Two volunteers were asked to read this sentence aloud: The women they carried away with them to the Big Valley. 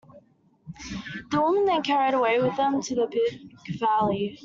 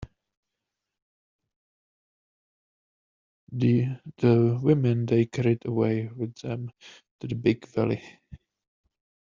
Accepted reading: first